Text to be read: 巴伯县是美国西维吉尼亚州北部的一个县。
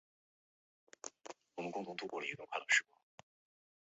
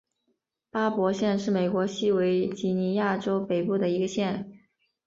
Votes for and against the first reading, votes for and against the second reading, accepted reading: 0, 4, 3, 0, second